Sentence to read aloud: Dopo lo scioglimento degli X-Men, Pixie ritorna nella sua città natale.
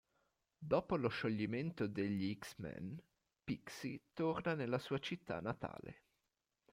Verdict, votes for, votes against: rejected, 1, 2